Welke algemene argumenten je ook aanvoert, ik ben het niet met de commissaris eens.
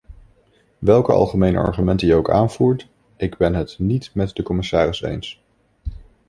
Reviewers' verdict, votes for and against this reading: accepted, 2, 0